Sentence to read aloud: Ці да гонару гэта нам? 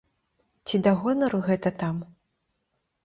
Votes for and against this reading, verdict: 0, 2, rejected